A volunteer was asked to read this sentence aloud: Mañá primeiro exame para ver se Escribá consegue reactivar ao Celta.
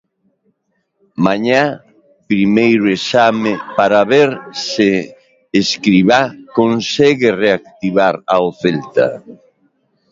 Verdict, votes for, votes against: rejected, 1, 2